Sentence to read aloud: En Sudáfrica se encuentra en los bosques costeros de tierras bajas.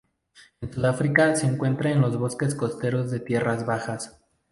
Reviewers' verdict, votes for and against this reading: accepted, 2, 0